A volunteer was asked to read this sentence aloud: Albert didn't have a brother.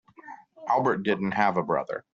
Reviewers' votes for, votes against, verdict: 2, 0, accepted